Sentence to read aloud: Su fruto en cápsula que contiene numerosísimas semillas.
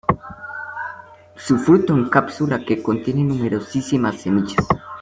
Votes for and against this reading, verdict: 2, 1, accepted